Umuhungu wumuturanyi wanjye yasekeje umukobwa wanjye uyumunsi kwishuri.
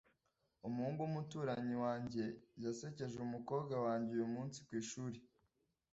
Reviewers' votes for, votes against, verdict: 2, 0, accepted